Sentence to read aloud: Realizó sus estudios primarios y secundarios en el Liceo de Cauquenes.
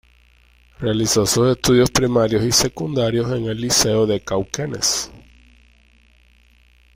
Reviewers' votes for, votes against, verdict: 2, 0, accepted